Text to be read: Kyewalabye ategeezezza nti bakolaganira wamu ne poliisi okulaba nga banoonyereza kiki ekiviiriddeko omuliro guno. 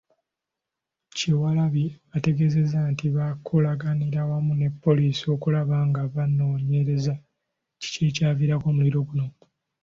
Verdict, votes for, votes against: rejected, 1, 2